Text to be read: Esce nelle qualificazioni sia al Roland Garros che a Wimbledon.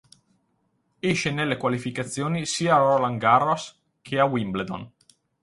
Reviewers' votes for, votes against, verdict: 2, 4, rejected